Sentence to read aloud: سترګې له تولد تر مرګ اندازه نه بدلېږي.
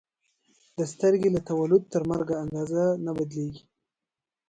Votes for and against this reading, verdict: 2, 1, accepted